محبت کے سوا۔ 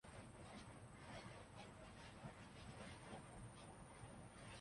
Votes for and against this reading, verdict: 1, 2, rejected